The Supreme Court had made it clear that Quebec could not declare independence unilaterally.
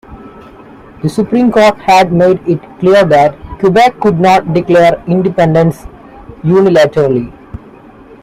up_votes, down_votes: 2, 0